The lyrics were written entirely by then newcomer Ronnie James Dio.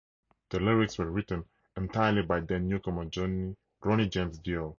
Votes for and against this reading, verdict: 2, 2, rejected